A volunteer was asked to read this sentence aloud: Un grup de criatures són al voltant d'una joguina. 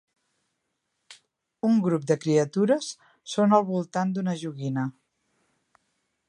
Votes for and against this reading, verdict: 2, 0, accepted